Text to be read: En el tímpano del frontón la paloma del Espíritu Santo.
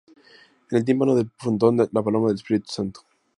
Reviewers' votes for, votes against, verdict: 2, 0, accepted